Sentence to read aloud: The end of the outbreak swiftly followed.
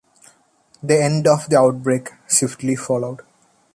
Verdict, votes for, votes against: accepted, 2, 0